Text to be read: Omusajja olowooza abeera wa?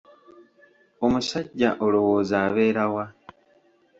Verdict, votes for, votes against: accepted, 2, 0